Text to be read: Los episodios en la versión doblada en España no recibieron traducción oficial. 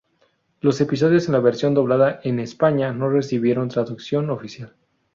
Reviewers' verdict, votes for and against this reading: rejected, 0, 2